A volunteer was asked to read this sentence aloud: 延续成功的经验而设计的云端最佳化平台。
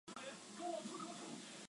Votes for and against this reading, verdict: 0, 2, rejected